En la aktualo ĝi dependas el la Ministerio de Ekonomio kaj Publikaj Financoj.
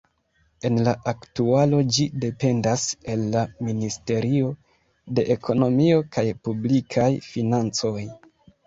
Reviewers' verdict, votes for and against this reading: rejected, 0, 2